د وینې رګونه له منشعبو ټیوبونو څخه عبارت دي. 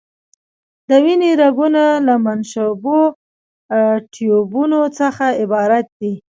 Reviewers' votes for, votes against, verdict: 1, 2, rejected